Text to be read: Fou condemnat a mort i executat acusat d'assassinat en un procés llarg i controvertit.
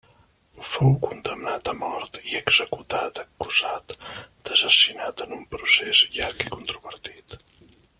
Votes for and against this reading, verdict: 0, 2, rejected